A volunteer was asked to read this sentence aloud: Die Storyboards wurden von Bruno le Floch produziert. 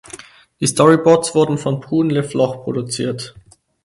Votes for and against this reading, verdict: 2, 4, rejected